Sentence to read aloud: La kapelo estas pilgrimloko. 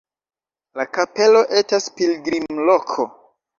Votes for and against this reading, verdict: 1, 2, rejected